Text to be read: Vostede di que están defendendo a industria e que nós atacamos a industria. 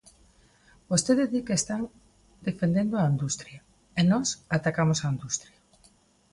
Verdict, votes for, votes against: rejected, 0, 2